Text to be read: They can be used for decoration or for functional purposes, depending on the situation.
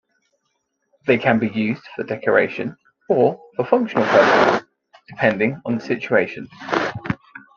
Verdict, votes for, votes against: accepted, 2, 1